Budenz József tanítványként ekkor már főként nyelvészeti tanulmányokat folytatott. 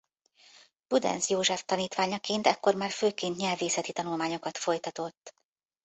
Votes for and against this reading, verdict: 0, 2, rejected